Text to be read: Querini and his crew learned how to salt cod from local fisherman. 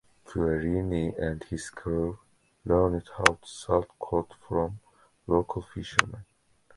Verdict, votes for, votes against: rejected, 1, 2